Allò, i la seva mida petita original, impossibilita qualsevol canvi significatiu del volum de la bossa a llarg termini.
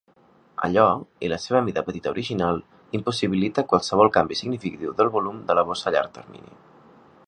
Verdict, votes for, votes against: rejected, 1, 2